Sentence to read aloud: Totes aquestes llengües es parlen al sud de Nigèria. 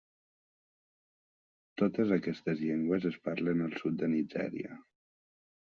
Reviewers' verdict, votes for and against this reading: accepted, 3, 0